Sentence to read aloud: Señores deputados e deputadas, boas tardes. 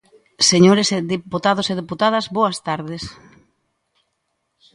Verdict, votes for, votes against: rejected, 1, 2